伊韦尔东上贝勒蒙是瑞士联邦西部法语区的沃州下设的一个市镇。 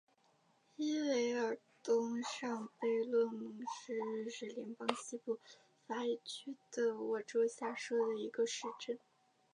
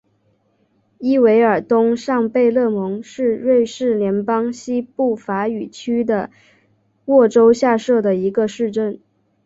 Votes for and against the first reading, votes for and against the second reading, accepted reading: 1, 2, 2, 0, second